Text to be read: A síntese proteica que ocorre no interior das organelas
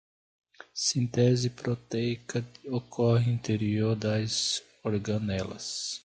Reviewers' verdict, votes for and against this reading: rejected, 0, 2